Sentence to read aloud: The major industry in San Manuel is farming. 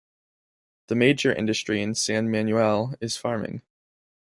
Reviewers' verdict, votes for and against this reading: accepted, 2, 0